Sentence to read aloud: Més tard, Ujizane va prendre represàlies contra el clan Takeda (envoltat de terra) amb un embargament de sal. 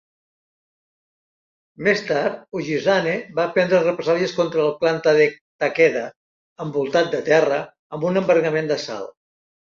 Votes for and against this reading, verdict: 2, 0, accepted